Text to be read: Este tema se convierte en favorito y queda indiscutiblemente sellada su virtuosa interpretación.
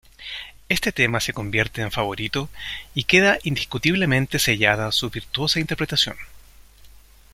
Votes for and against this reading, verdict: 2, 0, accepted